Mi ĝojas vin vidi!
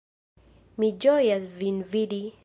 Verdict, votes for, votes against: accepted, 2, 0